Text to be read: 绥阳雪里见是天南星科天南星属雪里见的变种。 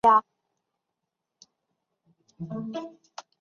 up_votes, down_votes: 0, 4